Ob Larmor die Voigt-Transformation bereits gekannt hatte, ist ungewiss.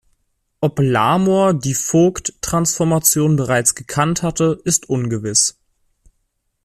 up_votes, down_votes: 1, 2